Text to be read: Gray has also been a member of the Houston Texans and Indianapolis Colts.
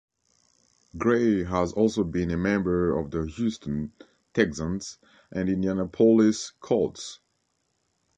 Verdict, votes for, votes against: rejected, 1, 2